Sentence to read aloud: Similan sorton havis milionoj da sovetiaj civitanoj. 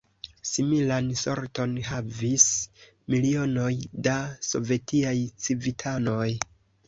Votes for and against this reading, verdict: 2, 0, accepted